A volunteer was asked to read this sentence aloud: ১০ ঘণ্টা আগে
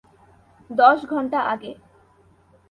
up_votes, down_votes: 0, 2